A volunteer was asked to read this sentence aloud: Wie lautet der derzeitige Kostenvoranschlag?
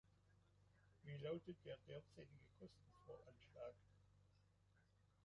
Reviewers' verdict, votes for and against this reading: rejected, 0, 2